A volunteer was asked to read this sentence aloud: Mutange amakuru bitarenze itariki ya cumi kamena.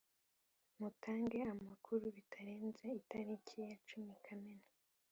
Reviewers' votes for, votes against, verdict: 3, 1, accepted